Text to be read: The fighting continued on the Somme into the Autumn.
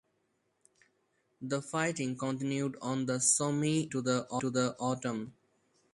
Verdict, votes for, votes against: accepted, 4, 0